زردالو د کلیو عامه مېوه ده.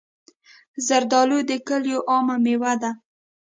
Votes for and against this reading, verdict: 2, 0, accepted